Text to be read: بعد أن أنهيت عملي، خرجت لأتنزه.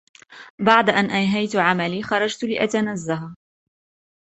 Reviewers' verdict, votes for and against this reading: accepted, 2, 1